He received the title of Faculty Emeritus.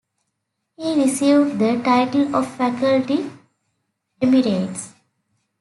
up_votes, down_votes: 1, 2